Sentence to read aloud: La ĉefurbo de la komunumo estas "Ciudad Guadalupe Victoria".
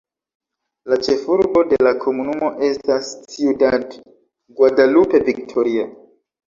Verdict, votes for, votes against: rejected, 0, 2